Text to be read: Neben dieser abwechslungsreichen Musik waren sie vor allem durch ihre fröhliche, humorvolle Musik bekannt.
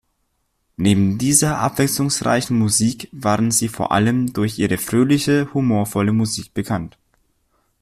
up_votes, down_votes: 2, 0